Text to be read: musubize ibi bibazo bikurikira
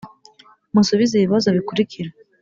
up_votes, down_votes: 2, 0